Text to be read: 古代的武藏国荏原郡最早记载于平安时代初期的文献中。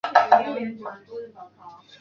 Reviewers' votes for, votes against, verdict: 0, 4, rejected